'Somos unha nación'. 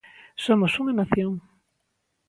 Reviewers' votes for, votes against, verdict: 2, 0, accepted